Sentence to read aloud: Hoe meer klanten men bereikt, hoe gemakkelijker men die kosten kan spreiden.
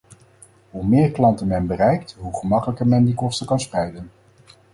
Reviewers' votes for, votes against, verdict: 4, 0, accepted